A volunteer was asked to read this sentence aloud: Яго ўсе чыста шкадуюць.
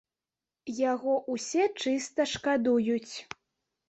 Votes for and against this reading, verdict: 1, 2, rejected